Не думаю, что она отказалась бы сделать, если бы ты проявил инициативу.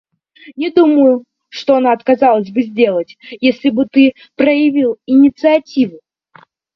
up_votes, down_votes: 2, 0